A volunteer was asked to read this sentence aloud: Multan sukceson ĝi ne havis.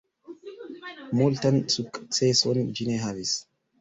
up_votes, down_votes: 4, 2